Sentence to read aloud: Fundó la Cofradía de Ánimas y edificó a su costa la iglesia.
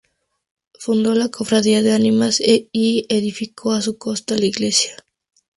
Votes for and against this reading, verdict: 0, 2, rejected